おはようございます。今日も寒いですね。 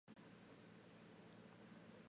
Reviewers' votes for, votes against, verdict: 0, 2, rejected